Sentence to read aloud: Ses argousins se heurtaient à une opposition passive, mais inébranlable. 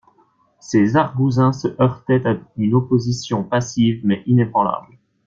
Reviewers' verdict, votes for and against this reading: accepted, 2, 0